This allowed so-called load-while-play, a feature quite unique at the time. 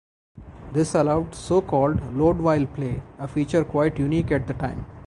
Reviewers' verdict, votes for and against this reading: accepted, 4, 2